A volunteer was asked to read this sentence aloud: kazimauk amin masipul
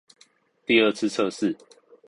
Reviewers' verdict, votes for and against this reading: rejected, 0, 6